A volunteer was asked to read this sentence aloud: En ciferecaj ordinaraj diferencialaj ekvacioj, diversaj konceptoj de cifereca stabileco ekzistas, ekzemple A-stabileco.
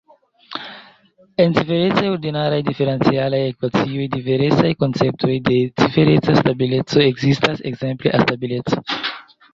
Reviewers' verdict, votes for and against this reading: accepted, 2, 0